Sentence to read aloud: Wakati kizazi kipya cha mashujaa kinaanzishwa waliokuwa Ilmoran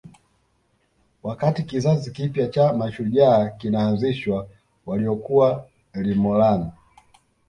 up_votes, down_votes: 0, 2